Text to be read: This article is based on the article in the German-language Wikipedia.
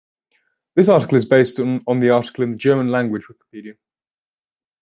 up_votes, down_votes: 2, 1